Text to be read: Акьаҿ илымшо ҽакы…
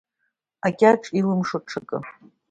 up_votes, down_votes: 3, 0